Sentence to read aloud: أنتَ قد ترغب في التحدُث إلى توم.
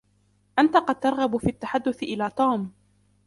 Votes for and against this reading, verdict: 2, 0, accepted